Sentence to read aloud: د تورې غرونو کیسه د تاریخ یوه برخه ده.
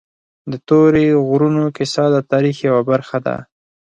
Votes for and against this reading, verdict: 4, 0, accepted